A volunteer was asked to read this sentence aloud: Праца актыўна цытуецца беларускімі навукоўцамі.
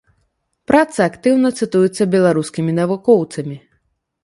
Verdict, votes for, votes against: accepted, 2, 0